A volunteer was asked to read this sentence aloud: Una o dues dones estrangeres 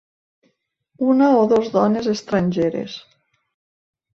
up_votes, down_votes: 0, 2